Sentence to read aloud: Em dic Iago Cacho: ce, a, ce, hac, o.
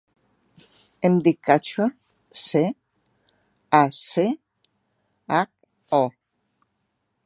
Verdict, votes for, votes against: rejected, 0, 2